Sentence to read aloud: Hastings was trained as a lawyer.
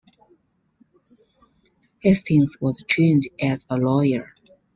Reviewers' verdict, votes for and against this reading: accepted, 2, 1